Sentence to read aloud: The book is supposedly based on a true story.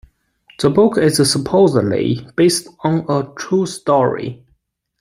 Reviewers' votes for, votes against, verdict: 0, 2, rejected